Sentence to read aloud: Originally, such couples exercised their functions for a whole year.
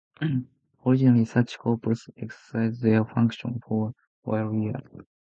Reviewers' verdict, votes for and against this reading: rejected, 0, 2